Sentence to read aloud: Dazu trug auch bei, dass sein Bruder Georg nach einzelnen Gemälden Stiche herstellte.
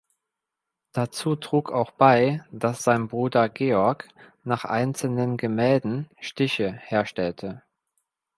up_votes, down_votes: 2, 0